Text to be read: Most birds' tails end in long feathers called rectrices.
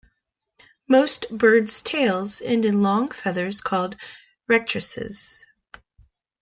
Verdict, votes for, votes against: accepted, 2, 1